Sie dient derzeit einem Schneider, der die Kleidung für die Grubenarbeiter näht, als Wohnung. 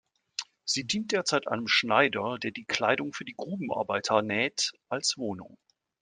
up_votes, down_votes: 2, 0